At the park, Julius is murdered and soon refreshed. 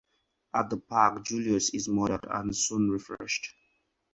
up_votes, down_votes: 2, 0